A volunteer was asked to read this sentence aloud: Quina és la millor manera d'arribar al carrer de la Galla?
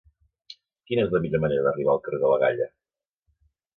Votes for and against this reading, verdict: 2, 0, accepted